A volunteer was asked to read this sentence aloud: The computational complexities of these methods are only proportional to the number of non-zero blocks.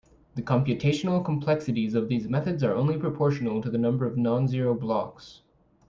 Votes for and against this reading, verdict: 2, 0, accepted